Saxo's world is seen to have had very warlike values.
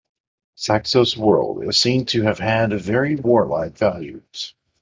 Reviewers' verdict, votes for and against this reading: accepted, 2, 0